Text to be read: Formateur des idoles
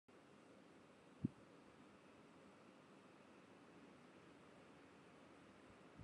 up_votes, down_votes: 0, 2